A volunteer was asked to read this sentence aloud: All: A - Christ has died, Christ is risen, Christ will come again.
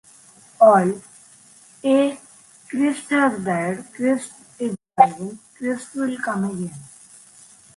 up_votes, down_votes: 0, 3